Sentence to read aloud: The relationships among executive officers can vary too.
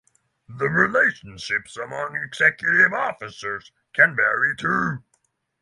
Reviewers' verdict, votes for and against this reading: rejected, 3, 3